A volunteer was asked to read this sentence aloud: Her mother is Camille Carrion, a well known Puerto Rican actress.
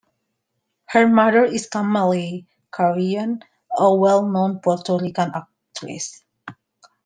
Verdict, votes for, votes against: accepted, 2, 1